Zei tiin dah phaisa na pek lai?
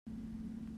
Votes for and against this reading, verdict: 0, 2, rejected